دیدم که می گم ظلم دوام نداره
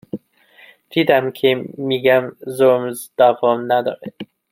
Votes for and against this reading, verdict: 1, 2, rejected